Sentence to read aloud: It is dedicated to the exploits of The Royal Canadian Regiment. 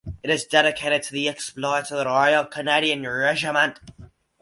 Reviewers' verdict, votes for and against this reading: accepted, 4, 0